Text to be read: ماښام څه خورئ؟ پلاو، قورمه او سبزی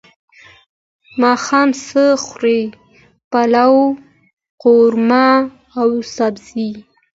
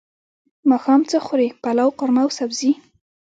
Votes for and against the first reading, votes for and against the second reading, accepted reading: 2, 0, 1, 2, first